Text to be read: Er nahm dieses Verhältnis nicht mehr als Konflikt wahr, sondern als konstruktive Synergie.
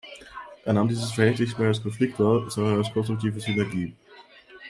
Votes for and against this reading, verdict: 0, 2, rejected